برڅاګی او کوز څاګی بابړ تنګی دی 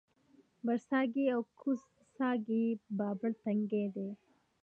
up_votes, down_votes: 2, 0